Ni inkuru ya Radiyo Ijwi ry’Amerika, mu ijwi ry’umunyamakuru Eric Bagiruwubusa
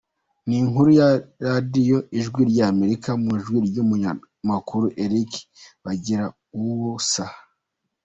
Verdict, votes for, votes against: accepted, 2, 1